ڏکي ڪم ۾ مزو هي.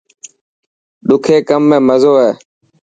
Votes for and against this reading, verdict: 2, 0, accepted